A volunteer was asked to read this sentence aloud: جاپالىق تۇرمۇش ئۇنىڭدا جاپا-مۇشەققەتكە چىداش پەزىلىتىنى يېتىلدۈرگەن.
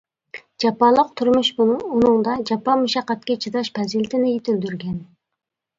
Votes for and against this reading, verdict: 1, 2, rejected